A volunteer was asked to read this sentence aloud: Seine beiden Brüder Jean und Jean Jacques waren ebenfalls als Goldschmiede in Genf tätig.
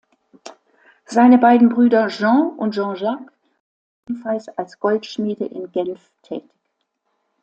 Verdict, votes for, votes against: rejected, 0, 2